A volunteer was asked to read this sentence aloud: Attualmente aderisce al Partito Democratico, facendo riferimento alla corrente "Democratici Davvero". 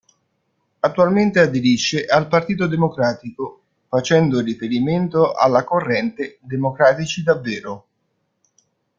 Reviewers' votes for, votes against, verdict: 1, 2, rejected